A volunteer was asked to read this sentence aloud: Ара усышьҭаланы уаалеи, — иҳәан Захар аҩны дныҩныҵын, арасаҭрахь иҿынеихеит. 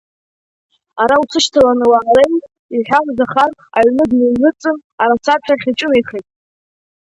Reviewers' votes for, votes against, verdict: 1, 5, rejected